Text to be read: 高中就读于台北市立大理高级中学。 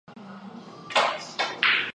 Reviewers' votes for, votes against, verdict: 1, 2, rejected